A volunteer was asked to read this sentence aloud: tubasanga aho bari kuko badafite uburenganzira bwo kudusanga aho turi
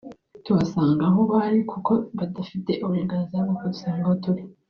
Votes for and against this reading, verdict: 1, 2, rejected